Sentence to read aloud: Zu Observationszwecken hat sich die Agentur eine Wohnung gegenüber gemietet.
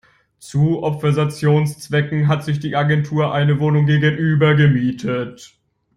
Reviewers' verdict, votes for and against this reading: rejected, 1, 2